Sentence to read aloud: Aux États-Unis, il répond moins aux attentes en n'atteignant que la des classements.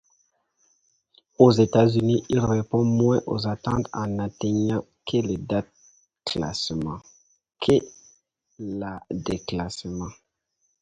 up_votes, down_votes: 0, 2